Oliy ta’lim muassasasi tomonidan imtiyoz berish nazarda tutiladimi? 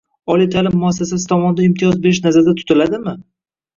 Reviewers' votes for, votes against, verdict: 1, 2, rejected